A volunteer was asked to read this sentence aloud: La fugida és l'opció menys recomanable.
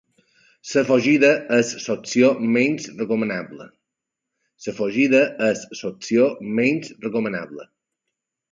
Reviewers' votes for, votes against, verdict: 1, 2, rejected